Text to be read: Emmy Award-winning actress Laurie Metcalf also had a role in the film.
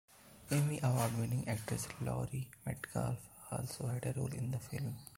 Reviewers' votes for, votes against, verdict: 0, 2, rejected